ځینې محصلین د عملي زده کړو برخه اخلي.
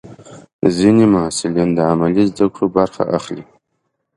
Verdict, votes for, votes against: accepted, 2, 0